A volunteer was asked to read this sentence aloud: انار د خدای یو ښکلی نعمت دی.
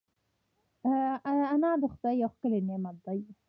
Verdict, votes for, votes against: accepted, 2, 0